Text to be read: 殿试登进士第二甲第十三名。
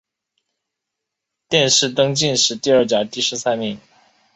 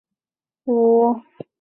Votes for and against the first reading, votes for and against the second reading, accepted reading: 3, 1, 1, 5, first